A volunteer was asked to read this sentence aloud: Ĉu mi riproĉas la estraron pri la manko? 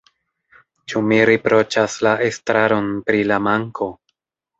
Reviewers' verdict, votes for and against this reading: accepted, 2, 0